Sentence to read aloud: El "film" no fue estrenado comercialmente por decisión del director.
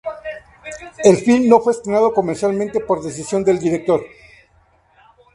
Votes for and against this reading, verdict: 2, 0, accepted